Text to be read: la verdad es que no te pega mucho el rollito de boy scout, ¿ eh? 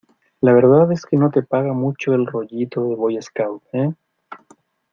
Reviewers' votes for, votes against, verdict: 0, 2, rejected